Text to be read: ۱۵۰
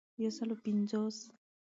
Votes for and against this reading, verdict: 0, 2, rejected